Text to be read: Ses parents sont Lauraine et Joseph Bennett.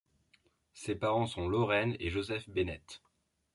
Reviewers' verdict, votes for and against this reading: accepted, 2, 0